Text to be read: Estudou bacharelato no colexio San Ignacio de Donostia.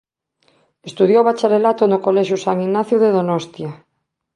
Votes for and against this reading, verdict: 0, 2, rejected